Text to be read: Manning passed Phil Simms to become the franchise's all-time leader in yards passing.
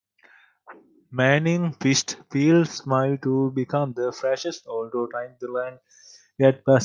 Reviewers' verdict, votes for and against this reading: rejected, 1, 2